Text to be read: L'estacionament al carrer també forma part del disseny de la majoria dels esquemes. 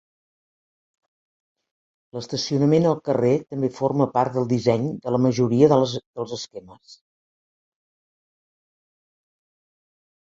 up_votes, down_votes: 2, 3